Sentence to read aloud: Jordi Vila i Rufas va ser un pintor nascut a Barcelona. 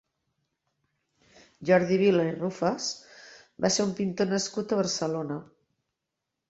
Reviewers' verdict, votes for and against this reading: accepted, 3, 0